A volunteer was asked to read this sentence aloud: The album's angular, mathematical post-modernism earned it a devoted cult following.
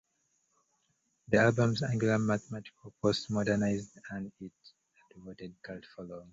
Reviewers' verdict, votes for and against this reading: rejected, 0, 2